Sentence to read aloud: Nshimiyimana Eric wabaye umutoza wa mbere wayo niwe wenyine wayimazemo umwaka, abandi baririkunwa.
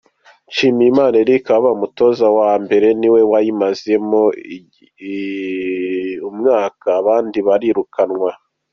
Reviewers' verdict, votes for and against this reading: accepted, 2, 1